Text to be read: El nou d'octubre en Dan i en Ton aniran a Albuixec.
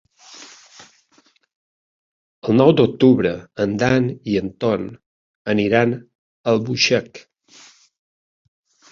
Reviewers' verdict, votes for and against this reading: accepted, 2, 0